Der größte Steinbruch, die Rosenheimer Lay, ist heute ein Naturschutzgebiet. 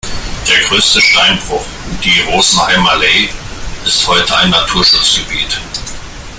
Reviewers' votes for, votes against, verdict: 1, 2, rejected